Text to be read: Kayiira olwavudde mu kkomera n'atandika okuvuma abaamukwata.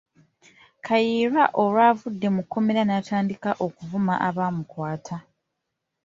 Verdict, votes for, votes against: accepted, 2, 1